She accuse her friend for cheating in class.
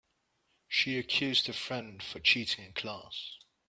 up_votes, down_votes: 0, 2